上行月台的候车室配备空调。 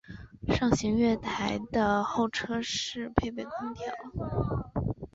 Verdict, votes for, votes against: accepted, 2, 0